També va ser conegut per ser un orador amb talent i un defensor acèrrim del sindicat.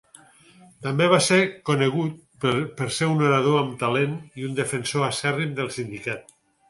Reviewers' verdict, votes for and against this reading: rejected, 2, 4